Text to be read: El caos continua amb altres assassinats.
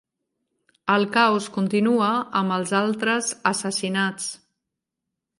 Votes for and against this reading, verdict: 0, 2, rejected